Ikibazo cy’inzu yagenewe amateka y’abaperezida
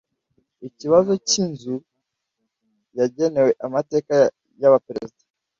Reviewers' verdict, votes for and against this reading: rejected, 1, 2